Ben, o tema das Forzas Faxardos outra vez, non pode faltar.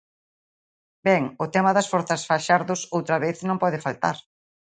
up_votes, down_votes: 2, 0